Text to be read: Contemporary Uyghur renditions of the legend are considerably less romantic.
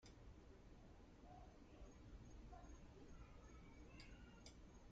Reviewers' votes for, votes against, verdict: 0, 2, rejected